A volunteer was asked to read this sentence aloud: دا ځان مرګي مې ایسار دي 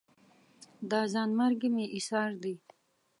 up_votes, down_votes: 2, 0